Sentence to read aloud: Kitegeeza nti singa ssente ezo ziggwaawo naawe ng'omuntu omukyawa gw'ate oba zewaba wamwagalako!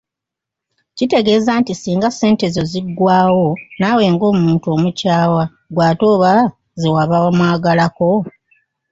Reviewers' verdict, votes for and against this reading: accepted, 2, 0